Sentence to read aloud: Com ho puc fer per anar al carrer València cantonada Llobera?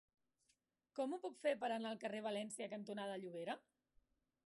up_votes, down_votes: 0, 2